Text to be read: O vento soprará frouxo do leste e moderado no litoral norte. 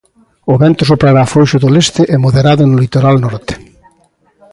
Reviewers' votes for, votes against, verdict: 0, 2, rejected